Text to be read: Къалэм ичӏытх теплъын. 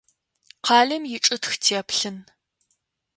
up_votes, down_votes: 2, 0